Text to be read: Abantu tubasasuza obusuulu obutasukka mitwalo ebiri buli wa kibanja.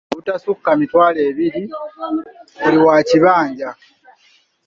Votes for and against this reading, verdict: 0, 2, rejected